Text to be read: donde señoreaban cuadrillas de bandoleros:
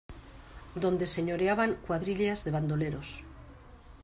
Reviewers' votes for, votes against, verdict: 2, 0, accepted